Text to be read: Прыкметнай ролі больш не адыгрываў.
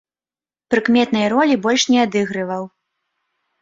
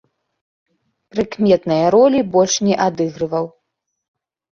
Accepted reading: first